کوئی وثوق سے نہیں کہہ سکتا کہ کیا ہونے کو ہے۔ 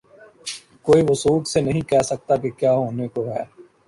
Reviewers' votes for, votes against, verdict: 2, 1, accepted